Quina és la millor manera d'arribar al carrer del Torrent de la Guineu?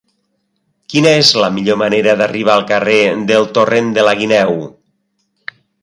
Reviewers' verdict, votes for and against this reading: accepted, 3, 0